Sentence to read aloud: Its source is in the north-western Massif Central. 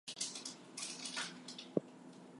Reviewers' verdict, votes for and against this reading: rejected, 0, 2